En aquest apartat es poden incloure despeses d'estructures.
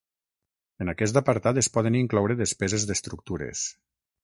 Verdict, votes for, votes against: accepted, 6, 0